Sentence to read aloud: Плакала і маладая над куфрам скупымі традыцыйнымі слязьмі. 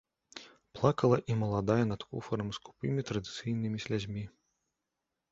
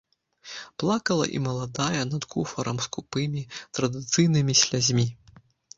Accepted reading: first